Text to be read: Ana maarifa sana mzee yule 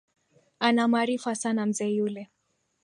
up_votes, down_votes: 2, 1